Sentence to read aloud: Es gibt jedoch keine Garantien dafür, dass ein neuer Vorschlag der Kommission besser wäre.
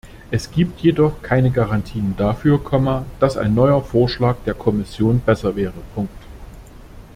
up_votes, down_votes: 0, 2